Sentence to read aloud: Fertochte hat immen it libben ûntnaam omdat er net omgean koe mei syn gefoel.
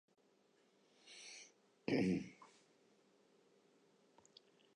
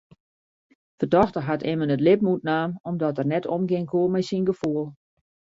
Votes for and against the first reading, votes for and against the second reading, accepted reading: 0, 2, 2, 0, second